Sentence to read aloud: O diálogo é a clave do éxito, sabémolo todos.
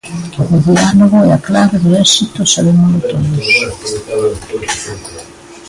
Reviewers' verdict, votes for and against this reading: rejected, 0, 2